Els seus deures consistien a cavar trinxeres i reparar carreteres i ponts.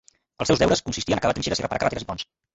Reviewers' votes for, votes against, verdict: 0, 2, rejected